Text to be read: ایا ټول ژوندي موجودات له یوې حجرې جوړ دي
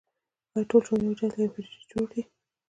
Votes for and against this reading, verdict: 1, 2, rejected